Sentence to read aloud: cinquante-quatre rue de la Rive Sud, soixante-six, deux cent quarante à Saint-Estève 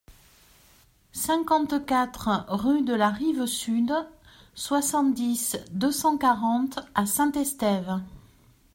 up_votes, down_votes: 0, 2